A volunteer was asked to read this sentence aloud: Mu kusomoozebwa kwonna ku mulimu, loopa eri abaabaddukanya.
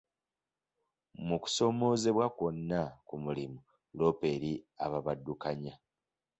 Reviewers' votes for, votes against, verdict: 0, 2, rejected